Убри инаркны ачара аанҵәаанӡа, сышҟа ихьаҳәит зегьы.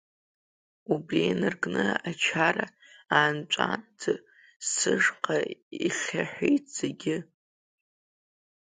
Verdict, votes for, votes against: rejected, 0, 2